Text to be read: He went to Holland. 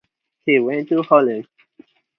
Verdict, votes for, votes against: accepted, 4, 0